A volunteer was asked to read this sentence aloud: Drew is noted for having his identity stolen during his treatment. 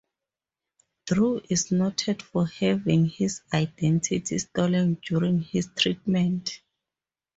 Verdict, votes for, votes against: accepted, 2, 0